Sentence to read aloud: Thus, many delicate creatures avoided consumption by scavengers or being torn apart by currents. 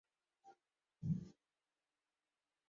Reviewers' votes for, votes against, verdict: 0, 2, rejected